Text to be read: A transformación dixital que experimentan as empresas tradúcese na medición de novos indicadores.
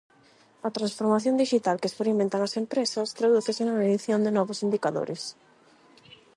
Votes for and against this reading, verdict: 8, 0, accepted